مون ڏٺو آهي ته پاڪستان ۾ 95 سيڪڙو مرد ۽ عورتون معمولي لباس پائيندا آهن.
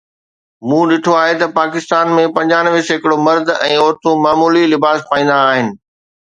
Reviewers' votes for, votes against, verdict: 0, 2, rejected